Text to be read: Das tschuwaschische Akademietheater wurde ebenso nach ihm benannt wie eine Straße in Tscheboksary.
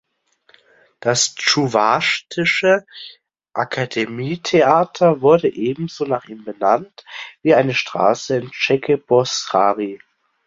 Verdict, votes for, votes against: rejected, 0, 2